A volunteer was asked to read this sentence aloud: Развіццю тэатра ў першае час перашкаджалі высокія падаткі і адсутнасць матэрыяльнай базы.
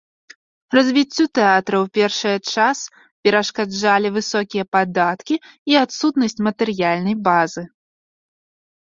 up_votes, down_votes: 2, 0